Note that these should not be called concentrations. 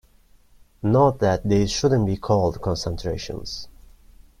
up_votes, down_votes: 1, 2